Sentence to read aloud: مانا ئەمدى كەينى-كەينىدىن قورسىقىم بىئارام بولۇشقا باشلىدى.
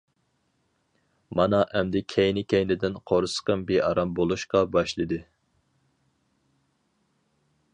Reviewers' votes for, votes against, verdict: 4, 0, accepted